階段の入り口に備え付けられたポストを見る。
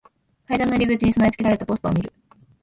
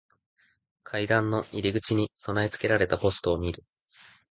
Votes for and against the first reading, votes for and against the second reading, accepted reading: 1, 2, 2, 0, second